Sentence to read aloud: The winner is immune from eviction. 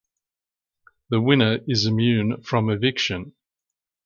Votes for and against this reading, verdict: 2, 0, accepted